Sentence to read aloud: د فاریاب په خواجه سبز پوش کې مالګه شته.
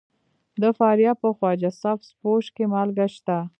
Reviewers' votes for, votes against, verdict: 1, 2, rejected